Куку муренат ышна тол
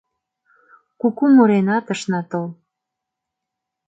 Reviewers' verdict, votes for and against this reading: accepted, 2, 0